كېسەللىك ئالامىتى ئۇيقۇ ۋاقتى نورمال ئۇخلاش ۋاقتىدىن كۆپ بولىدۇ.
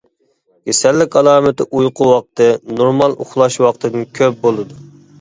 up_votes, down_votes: 2, 0